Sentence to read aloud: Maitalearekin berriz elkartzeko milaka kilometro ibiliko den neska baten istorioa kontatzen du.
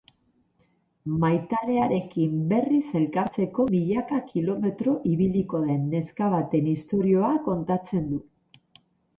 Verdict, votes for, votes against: accepted, 4, 0